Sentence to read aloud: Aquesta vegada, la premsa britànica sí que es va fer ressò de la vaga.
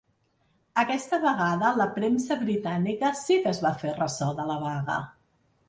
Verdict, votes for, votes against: accepted, 3, 0